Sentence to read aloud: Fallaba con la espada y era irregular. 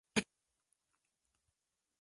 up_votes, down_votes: 0, 2